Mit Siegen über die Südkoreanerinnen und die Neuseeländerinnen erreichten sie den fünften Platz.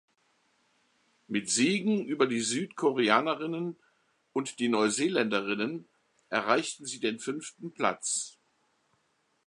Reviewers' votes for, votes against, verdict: 2, 0, accepted